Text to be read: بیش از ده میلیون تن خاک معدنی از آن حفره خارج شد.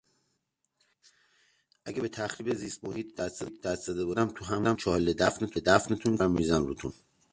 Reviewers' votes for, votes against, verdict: 0, 2, rejected